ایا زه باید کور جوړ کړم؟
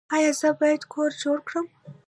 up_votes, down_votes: 1, 2